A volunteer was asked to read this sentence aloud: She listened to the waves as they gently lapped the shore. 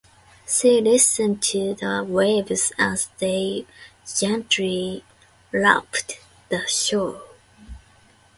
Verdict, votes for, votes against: accepted, 2, 1